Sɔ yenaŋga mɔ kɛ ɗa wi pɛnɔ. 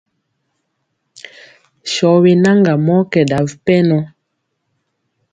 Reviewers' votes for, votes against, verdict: 2, 0, accepted